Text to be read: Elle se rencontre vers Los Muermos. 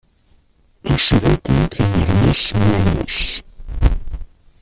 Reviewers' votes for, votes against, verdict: 0, 2, rejected